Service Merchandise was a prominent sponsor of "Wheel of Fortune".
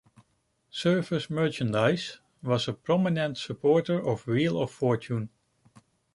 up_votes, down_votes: 1, 2